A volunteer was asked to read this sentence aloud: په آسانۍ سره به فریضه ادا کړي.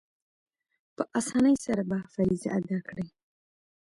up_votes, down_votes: 1, 2